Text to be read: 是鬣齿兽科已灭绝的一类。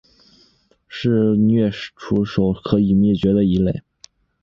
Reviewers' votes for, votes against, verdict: 3, 1, accepted